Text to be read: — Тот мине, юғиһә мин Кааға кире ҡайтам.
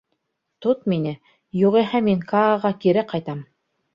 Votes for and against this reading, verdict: 2, 0, accepted